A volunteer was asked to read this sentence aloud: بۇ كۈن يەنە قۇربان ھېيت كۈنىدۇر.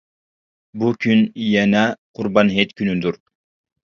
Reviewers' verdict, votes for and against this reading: accepted, 2, 0